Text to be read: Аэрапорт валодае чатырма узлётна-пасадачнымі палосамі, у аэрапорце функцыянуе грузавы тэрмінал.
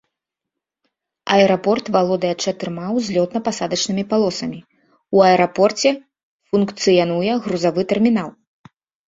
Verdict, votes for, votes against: accepted, 2, 0